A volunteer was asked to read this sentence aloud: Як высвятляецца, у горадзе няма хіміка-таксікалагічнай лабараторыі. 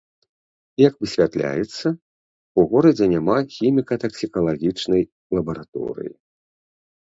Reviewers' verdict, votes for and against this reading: accepted, 2, 0